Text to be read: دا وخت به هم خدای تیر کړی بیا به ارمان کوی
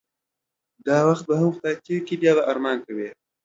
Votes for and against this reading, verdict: 2, 0, accepted